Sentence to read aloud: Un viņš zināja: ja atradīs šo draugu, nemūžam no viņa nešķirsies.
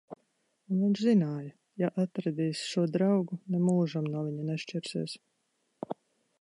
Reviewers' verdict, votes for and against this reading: rejected, 1, 2